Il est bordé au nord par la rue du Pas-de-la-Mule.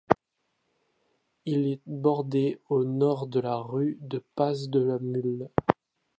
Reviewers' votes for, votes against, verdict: 0, 2, rejected